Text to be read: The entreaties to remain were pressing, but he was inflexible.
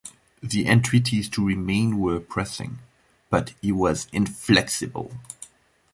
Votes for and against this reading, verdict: 2, 0, accepted